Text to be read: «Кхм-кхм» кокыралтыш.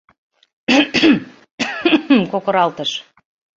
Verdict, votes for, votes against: rejected, 1, 2